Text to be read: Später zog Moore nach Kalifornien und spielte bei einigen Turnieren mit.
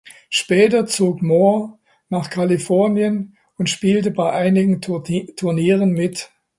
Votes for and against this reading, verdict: 0, 2, rejected